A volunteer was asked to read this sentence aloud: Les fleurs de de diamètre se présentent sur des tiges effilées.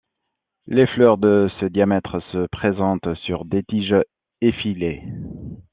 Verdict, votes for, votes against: rejected, 1, 2